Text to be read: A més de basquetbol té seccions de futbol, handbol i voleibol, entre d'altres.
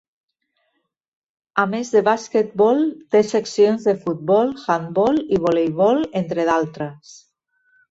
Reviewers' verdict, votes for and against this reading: accepted, 5, 0